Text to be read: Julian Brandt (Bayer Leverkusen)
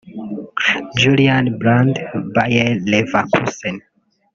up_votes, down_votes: 0, 2